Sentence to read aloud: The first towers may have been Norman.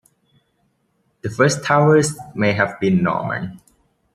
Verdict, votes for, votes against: accepted, 2, 0